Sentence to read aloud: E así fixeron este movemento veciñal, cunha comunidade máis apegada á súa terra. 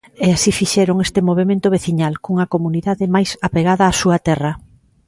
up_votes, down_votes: 2, 0